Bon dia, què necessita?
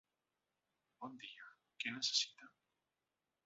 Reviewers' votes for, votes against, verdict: 0, 2, rejected